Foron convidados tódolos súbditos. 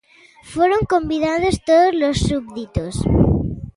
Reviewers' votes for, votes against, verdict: 2, 0, accepted